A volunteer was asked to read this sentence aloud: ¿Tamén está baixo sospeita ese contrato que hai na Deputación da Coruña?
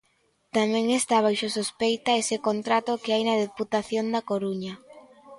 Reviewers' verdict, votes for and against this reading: accepted, 2, 0